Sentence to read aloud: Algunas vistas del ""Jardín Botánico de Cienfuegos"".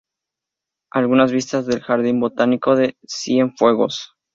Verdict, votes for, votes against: accepted, 2, 0